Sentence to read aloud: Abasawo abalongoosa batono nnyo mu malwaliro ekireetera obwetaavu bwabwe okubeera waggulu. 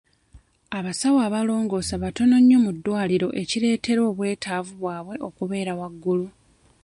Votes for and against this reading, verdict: 0, 2, rejected